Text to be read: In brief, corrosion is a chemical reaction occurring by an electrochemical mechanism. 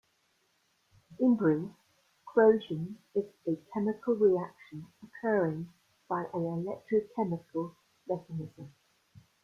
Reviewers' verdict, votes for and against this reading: rejected, 1, 2